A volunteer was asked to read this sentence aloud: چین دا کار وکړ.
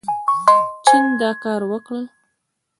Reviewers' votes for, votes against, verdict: 0, 2, rejected